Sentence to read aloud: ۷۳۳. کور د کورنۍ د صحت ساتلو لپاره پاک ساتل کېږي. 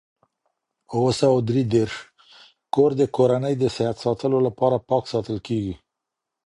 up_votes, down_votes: 0, 2